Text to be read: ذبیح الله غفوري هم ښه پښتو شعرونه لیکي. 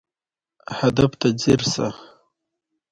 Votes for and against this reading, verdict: 1, 2, rejected